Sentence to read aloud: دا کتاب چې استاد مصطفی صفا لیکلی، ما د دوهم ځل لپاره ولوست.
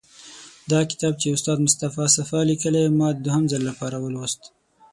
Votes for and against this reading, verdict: 6, 0, accepted